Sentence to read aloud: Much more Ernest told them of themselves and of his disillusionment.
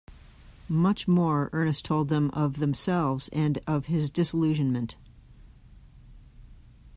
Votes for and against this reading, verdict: 1, 2, rejected